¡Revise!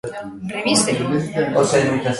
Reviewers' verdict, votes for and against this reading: rejected, 1, 2